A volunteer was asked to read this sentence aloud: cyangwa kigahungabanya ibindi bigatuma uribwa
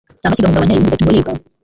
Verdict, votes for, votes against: rejected, 1, 2